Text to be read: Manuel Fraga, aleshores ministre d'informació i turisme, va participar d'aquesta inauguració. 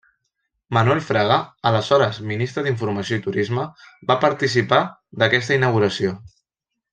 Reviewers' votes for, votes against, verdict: 2, 0, accepted